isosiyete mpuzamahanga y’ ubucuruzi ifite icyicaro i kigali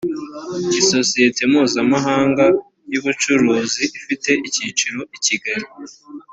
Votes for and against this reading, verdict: 1, 2, rejected